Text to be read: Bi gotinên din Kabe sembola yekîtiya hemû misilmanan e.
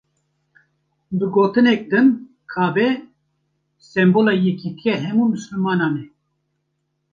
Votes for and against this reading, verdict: 1, 2, rejected